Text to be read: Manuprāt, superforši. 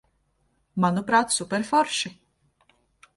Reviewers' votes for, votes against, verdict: 2, 0, accepted